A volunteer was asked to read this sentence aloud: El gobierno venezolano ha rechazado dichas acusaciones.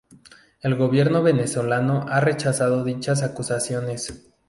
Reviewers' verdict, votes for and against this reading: accepted, 2, 0